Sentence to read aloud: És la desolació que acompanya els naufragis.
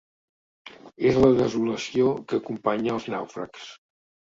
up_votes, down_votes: 0, 2